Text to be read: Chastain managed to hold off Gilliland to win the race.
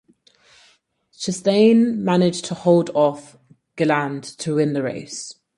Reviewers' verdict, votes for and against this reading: rejected, 0, 4